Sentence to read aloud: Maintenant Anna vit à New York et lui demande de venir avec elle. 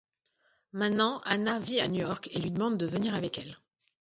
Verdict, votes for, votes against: rejected, 1, 2